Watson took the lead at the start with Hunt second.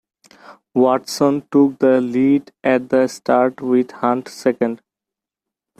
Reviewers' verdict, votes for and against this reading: accepted, 2, 1